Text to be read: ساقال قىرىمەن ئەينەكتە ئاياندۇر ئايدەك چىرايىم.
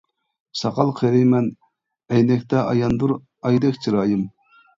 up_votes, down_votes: 0, 2